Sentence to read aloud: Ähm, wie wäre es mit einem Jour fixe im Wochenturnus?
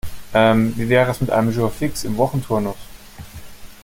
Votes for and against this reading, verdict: 2, 0, accepted